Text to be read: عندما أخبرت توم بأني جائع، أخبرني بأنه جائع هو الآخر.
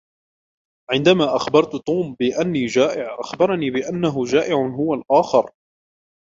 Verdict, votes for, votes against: rejected, 0, 2